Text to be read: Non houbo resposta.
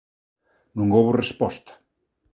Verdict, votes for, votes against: accepted, 2, 0